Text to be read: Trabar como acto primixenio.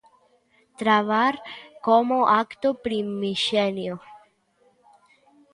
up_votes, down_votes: 2, 0